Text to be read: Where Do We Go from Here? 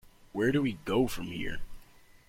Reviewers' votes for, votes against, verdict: 3, 0, accepted